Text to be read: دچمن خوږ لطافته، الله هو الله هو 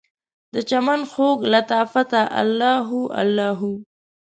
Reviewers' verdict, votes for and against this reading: accepted, 2, 0